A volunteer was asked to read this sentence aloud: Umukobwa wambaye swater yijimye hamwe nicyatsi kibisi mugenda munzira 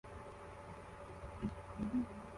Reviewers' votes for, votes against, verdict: 0, 2, rejected